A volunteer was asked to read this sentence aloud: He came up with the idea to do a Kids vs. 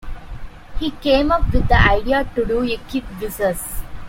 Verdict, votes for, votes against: rejected, 1, 2